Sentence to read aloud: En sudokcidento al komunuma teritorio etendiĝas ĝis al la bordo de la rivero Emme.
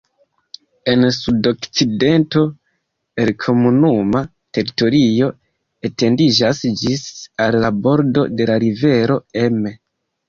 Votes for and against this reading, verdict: 1, 2, rejected